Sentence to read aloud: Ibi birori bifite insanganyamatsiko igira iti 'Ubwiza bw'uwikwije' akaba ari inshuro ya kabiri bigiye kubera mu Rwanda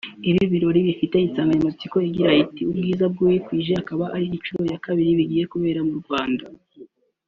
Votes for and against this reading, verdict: 2, 1, accepted